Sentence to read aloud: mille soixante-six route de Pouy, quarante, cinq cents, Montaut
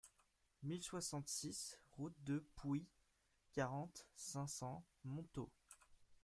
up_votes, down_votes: 2, 1